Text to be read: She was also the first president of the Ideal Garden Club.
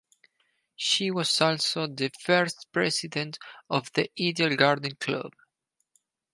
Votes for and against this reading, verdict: 2, 4, rejected